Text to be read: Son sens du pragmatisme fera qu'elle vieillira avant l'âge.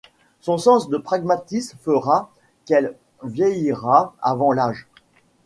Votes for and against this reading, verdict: 0, 2, rejected